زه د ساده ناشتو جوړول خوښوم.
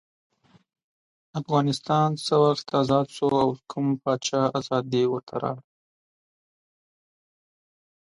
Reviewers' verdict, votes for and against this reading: rejected, 0, 2